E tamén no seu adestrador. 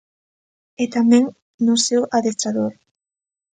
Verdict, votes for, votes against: accepted, 2, 0